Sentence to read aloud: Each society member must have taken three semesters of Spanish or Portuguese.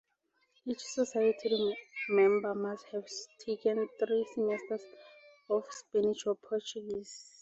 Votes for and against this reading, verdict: 2, 0, accepted